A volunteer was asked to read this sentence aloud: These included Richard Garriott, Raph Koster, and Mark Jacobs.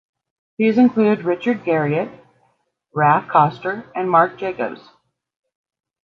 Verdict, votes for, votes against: accepted, 3, 0